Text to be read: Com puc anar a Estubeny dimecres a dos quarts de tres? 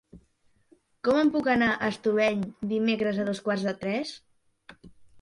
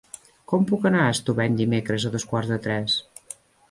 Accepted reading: second